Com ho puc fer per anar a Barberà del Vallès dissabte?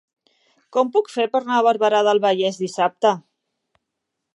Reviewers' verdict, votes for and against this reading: rejected, 1, 2